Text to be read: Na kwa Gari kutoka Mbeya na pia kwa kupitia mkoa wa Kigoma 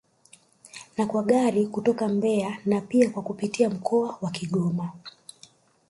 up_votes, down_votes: 2, 1